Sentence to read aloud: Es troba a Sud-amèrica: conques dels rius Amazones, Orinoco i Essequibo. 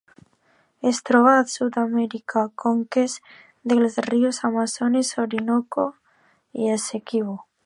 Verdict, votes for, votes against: accepted, 3, 0